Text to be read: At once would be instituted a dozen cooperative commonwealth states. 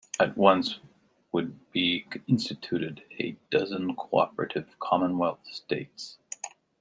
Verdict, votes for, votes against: accepted, 2, 0